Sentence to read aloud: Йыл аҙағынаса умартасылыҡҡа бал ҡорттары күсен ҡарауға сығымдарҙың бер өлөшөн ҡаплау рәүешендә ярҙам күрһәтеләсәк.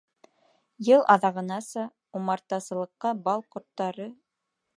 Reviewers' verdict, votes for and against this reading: rejected, 0, 2